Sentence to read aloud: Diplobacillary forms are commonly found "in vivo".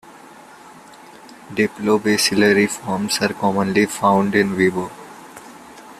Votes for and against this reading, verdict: 2, 0, accepted